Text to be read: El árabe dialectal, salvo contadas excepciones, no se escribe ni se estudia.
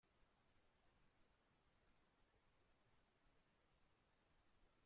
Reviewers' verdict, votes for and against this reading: rejected, 0, 2